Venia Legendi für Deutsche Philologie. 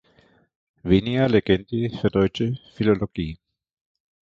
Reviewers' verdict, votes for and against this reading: accepted, 2, 1